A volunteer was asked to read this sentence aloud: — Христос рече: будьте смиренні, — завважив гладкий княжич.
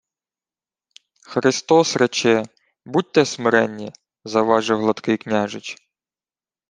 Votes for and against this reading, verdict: 2, 0, accepted